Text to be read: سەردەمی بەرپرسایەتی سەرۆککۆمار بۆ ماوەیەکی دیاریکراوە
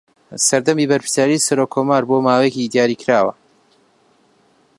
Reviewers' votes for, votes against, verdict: 0, 2, rejected